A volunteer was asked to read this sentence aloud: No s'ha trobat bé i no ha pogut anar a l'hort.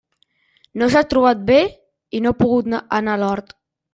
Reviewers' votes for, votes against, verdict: 0, 2, rejected